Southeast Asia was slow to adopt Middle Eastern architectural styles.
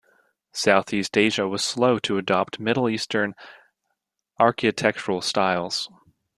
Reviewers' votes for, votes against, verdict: 2, 0, accepted